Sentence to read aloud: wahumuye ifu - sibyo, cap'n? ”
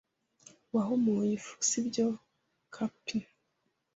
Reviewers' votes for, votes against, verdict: 2, 0, accepted